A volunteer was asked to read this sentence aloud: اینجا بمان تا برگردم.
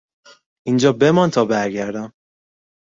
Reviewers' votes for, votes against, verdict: 2, 0, accepted